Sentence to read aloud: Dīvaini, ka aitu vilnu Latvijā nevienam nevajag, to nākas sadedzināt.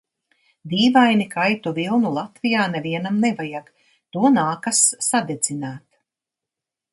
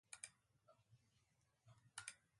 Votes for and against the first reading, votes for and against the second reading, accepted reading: 2, 0, 0, 2, first